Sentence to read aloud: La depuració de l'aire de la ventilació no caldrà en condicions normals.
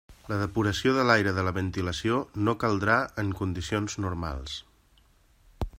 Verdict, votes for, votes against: accepted, 3, 0